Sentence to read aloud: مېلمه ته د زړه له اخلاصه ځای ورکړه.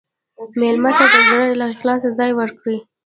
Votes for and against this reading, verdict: 1, 2, rejected